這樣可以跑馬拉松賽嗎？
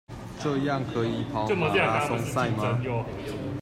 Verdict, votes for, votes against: rejected, 0, 2